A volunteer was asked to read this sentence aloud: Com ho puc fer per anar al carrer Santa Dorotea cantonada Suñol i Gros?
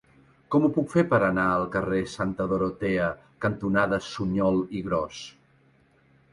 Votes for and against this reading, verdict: 3, 0, accepted